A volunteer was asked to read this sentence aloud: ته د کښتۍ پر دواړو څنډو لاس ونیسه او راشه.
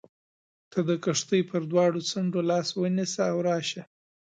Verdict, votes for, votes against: accepted, 2, 0